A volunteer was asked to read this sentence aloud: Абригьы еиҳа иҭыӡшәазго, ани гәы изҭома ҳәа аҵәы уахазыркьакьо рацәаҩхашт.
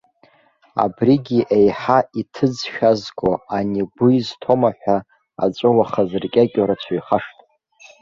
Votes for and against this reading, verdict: 0, 2, rejected